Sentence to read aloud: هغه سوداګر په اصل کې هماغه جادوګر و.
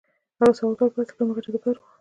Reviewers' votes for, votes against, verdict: 0, 2, rejected